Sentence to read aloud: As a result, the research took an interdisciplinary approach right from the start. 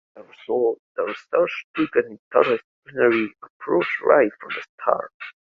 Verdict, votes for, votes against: rejected, 1, 2